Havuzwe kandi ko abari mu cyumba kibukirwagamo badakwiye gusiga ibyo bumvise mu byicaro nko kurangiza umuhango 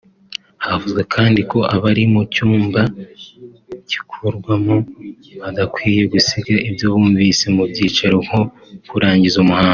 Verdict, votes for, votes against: rejected, 0, 2